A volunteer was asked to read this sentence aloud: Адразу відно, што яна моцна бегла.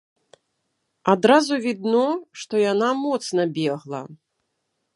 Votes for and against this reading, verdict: 2, 0, accepted